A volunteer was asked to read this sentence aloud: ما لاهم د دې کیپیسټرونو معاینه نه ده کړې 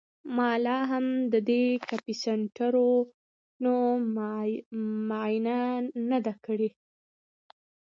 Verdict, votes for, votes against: rejected, 1, 2